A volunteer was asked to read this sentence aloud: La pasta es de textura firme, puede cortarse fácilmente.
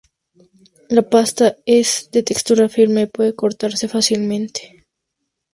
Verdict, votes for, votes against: accepted, 2, 0